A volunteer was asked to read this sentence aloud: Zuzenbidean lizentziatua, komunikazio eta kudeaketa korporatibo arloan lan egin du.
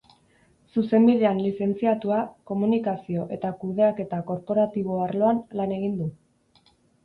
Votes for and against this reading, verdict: 2, 0, accepted